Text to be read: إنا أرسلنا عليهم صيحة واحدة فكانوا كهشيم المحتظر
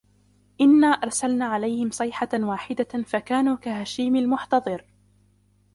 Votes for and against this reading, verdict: 0, 2, rejected